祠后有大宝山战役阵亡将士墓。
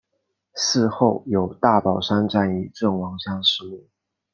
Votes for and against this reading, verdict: 2, 0, accepted